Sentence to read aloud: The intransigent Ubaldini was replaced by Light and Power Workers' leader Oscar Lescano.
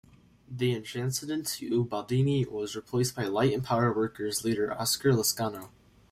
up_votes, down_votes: 0, 2